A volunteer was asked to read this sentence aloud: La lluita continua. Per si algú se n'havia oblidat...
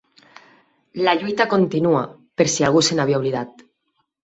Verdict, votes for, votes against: accepted, 6, 0